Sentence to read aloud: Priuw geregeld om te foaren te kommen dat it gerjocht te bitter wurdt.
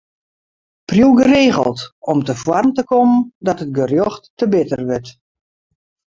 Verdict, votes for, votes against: rejected, 2, 2